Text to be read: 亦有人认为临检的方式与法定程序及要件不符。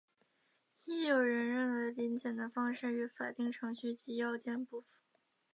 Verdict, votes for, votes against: rejected, 0, 3